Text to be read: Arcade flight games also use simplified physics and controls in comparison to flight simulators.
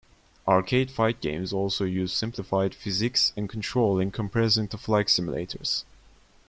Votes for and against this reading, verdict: 1, 2, rejected